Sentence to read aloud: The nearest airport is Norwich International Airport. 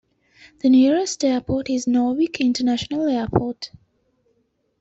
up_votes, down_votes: 2, 0